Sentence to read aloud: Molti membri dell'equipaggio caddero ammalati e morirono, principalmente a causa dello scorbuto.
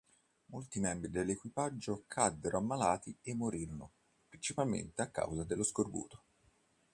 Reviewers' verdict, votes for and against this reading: accepted, 2, 0